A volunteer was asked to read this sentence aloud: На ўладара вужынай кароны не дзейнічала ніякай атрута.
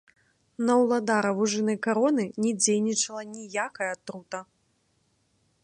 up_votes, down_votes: 0, 2